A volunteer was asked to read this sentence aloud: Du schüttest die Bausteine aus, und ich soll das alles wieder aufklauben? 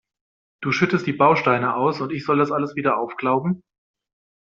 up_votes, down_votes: 2, 0